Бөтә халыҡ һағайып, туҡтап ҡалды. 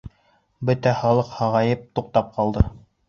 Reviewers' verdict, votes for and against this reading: accepted, 2, 1